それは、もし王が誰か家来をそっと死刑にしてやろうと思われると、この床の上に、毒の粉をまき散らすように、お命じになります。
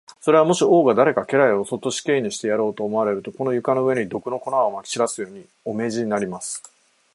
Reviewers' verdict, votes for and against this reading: accepted, 4, 0